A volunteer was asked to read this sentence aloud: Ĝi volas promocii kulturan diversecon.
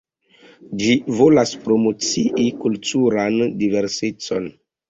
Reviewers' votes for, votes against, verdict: 2, 1, accepted